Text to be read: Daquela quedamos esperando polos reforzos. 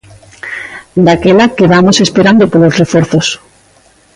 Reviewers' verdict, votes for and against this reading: accepted, 2, 0